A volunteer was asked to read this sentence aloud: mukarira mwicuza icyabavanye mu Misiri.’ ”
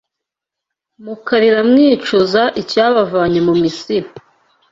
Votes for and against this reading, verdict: 2, 0, accepted